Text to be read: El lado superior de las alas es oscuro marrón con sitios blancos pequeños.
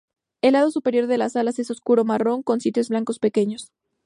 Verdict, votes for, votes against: accepted, 4, 0